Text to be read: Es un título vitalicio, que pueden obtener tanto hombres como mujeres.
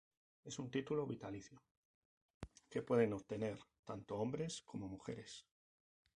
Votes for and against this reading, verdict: 2, 2, rejected